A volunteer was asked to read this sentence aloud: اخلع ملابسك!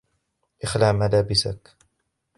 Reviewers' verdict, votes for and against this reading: rejected, 1, 2